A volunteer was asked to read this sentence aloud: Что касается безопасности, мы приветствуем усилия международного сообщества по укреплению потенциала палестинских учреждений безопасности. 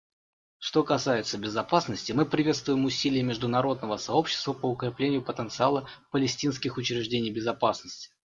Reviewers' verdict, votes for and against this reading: accepted, 2, 0